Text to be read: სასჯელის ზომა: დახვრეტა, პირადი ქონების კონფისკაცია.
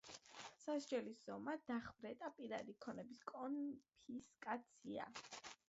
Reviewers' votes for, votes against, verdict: 0, 2, rejected